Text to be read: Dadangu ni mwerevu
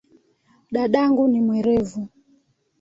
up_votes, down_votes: 2, 1